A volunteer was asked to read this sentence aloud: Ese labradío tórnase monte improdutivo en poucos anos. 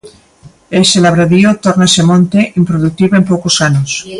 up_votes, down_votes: 2, 0